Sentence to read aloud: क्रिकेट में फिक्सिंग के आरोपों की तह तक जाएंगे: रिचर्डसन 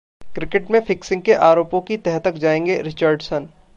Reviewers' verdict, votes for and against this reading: accepted, 2, 0